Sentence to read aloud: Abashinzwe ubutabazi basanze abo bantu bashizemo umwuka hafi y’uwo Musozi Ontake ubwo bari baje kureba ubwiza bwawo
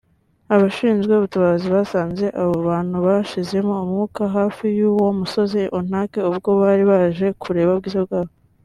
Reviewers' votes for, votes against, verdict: 2, 0, accepted